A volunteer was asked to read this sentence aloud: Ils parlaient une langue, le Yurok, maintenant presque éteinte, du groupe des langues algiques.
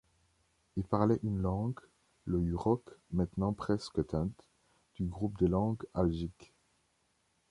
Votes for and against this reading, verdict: 2, 0, accepted